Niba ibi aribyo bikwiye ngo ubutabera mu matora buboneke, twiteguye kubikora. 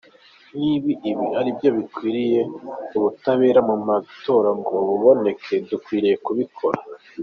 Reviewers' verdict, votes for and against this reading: accepted, 2, 1